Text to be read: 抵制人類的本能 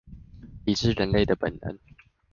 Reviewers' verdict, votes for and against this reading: accepted, 2, 0